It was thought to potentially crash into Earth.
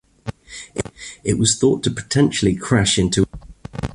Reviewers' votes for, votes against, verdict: 0, 2, rejected